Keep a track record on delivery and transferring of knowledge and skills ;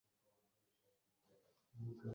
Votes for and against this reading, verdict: 0, 2, rejected